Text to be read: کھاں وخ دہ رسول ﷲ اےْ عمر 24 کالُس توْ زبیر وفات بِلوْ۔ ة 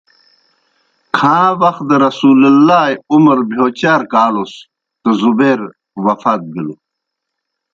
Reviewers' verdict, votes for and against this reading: rejected, 0, 2